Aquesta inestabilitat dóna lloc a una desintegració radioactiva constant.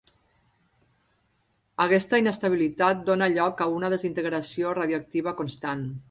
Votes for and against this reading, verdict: 3, 0, accepted